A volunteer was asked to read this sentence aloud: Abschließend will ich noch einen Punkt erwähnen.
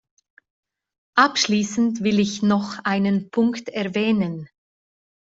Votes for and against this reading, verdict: 2, 0, accepted